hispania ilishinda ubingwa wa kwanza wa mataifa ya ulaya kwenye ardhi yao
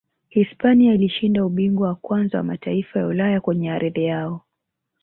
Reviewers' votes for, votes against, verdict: 3, 1, accepted